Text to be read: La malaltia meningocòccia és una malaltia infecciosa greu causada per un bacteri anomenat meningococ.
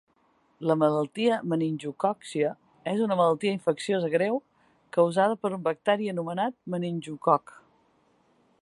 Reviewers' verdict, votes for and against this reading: accepted, 2, 1